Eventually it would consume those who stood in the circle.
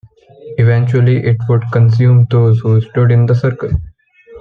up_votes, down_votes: 2, 0